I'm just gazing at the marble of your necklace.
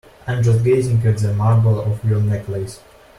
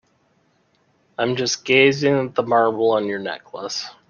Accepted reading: second